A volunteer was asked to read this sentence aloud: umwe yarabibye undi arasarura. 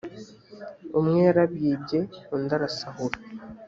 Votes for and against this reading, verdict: 1, 2, rejected